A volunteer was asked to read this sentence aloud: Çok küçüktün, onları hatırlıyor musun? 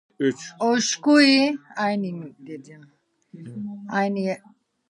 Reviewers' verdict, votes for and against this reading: rejected, 0, 2